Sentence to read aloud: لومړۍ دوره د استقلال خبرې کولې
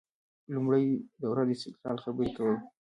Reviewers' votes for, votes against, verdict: 0, 2, rejected